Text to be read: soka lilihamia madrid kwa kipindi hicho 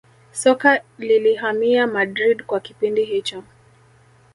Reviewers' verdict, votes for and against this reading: rejected, 1, 2